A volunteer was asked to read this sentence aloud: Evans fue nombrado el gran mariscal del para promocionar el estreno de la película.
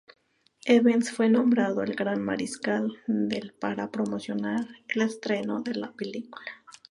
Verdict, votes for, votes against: accepted, 2, 0